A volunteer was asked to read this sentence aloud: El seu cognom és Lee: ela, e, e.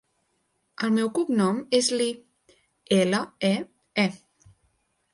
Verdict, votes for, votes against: rejected, 0, 2